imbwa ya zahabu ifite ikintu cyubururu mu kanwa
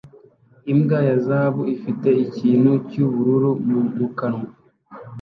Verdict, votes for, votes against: rejected, 1, 2